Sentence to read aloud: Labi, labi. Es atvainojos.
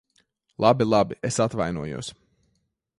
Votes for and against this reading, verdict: 2, 0, accepted